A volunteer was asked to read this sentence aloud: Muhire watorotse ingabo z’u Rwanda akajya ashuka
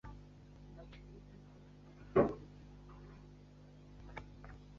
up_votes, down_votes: 1, 2